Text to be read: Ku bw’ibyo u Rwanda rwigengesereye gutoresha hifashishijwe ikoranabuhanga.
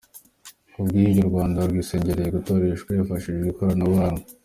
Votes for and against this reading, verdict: 0, 2, rejected